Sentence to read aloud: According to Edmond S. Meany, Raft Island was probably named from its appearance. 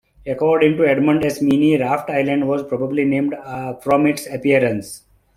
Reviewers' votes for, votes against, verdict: 0, 2, rejected